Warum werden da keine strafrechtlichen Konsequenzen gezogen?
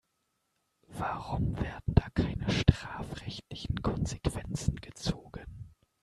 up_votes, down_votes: 0, 2